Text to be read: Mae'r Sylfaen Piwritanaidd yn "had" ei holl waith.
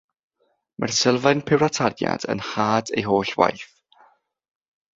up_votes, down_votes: 0, 6